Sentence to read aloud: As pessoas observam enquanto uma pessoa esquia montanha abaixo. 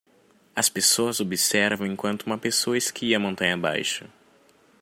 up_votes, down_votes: 2, 0